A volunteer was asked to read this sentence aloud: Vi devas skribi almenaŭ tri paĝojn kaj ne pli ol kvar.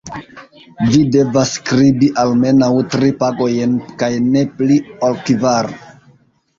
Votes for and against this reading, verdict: 1, 2, rejected